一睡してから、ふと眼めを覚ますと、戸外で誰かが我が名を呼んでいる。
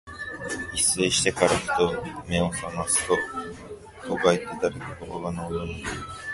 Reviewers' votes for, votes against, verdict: 2, 0, accepted